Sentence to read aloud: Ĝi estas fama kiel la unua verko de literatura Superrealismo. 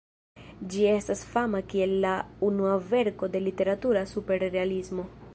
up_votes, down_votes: 2, 0